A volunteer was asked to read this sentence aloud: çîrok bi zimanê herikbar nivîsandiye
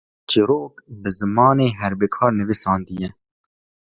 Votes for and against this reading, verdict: 2, 1, accepted